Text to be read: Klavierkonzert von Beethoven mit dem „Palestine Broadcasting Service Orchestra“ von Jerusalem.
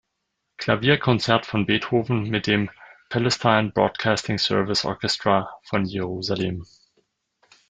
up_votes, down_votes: 1, 2